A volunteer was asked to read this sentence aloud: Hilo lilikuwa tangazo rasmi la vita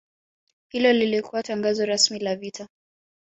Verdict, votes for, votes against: accepted, 2, 0